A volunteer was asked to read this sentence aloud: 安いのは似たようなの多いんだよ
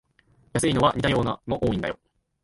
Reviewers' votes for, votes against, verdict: 5, 1, accepted